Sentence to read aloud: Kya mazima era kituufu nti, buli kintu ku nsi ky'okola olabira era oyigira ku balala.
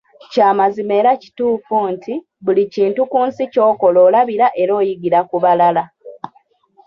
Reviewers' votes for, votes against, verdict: 1, 2, rejected